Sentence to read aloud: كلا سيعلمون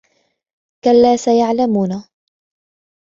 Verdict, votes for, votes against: accepted, 2, 0